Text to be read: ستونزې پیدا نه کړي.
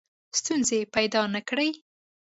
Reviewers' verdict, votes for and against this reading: accepted, 3, 0